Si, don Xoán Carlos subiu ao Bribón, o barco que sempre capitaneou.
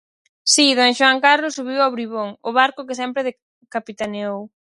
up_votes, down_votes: 2, 2